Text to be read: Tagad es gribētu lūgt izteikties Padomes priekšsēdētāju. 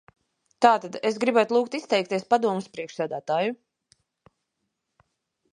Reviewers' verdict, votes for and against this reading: rejected, 0, 2